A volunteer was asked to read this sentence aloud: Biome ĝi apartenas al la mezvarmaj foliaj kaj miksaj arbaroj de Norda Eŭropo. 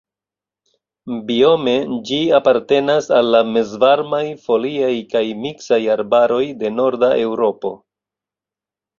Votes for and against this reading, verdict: 2, 0, accepted